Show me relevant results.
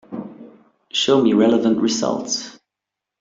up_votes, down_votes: 2, 0